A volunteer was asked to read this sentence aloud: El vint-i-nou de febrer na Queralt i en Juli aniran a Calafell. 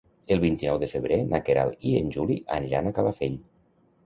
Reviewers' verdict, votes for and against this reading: accepted, 2, 0